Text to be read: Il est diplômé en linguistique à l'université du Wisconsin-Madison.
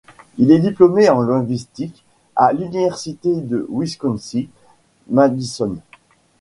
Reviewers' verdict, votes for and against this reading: rejected, 1, 2